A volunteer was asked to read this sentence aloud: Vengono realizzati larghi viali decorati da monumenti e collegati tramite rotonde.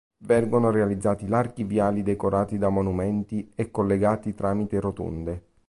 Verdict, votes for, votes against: accepted, 2, 0